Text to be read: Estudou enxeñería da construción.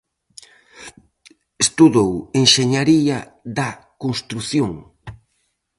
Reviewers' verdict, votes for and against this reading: rejected, 2, 2